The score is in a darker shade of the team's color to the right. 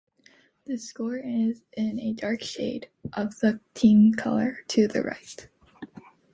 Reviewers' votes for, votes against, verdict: 1, 2, rejected